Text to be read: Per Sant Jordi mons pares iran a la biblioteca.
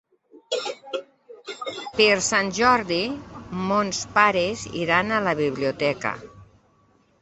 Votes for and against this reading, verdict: 5, 0, accepted